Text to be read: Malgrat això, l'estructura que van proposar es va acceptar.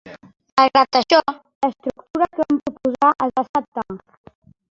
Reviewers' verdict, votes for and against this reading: rejected, 0, 2